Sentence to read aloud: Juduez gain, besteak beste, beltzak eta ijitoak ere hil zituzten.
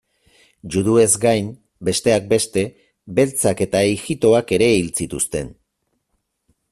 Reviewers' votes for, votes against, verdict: 4, 0, accepted